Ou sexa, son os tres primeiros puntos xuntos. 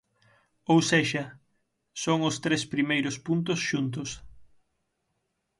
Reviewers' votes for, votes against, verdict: 6, 0, accepted